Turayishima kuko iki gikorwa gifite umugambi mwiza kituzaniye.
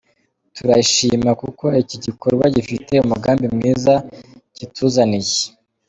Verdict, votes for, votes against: accepted, 2, 0